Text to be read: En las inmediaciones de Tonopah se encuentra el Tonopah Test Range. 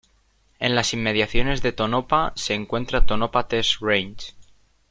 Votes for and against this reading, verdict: 0, 2, rejected